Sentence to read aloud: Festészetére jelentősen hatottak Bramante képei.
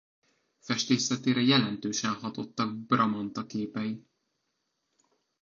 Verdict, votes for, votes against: rejected, 0, 2